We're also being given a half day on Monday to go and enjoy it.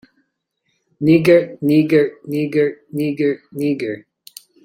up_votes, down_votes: 0, 2